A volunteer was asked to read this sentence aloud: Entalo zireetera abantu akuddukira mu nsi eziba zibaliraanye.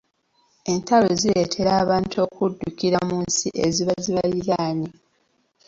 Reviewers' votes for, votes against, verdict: 2, 1, accepted